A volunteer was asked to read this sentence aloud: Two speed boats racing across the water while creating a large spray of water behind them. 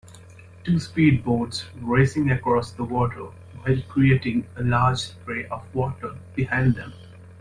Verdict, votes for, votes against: accepted, 2, 0